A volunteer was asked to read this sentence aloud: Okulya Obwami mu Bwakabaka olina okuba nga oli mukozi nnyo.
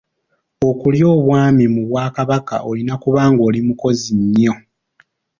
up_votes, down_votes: 2, 0